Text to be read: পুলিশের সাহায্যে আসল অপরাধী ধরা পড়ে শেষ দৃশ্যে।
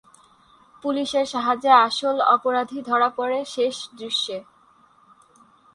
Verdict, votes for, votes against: rejected, 2, 2